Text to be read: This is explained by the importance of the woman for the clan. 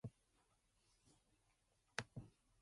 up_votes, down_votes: 0, 2